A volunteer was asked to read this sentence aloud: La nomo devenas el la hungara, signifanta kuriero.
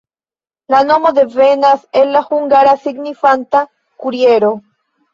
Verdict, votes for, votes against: accepted, 2, 0